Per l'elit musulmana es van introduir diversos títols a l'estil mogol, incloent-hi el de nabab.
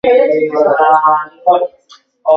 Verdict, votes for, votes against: rejected, 1, 3